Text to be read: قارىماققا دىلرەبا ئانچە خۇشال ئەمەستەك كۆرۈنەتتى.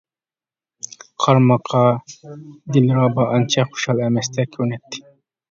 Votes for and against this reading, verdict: 1, 2, rejected